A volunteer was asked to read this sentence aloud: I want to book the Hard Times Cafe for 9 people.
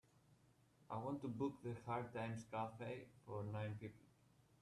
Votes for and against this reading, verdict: 0, 2, rejected